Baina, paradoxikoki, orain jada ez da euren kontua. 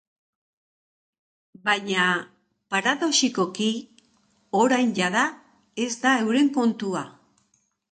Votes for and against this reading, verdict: 2, 0, accepted